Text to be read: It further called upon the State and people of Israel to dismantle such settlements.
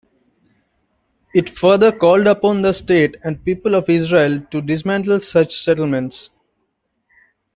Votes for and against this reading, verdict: 3, 0, accepted